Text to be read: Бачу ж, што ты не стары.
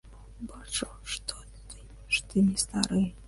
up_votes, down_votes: 0, 2